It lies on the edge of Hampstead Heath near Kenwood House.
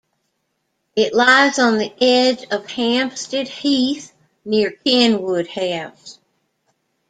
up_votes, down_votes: 2, 0